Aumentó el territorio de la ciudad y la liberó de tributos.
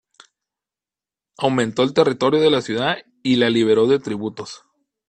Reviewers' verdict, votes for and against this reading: accepted, 2, 0